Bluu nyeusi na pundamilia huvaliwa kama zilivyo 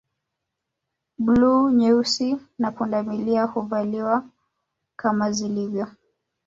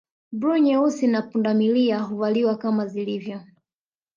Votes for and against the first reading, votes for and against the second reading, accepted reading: 1, 2, 2, 0, second